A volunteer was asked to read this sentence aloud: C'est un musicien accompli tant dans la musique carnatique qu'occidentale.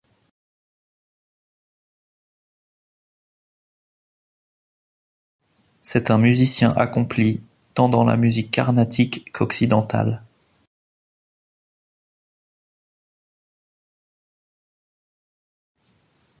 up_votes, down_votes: 1, 2